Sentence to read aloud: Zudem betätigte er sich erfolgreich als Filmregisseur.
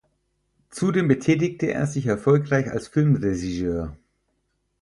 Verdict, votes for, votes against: rejected, 0, 4